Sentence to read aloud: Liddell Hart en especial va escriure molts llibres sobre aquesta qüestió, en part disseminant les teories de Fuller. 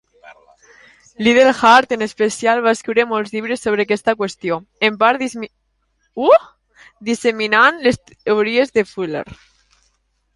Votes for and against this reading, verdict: 0, 2, rejected